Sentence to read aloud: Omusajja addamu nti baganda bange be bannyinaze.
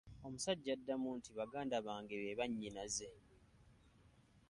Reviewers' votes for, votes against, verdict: 2, 1, accepted